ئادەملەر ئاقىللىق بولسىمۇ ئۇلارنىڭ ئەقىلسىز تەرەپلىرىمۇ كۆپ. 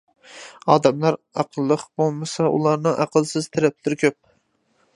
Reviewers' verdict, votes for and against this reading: rejected, 0, 2